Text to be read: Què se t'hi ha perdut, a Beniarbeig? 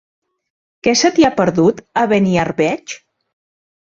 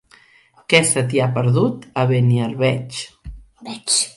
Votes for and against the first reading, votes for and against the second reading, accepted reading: 3, 0, 1, 2, first